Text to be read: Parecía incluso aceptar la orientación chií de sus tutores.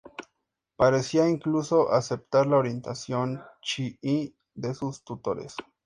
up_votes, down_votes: 2, 0